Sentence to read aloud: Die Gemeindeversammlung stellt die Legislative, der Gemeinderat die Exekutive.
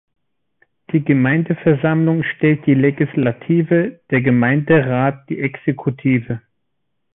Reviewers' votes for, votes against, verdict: 2, 0, accepted